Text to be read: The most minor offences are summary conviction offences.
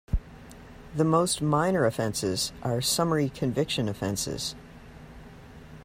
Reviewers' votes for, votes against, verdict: 2, 0, accepted